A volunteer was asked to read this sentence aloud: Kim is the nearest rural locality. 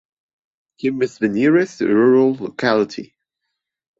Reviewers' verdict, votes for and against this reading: accepted, 2, 0